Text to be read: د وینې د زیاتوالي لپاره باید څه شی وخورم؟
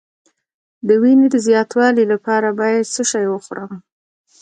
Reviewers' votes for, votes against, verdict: 1, 2, rejected